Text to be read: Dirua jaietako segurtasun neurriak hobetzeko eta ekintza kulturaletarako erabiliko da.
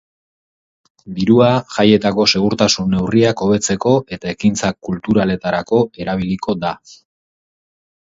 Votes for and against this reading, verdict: 4, 0, accepted